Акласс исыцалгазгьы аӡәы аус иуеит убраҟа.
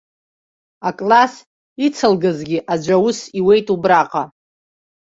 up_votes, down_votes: 1, 2